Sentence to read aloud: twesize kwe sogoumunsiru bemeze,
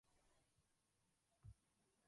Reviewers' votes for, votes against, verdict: 0, 2, rejected